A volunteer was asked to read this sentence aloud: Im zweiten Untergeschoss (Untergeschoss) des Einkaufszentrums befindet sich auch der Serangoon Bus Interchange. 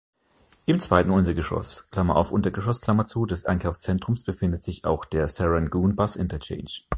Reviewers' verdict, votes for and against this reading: rejected, 0, 2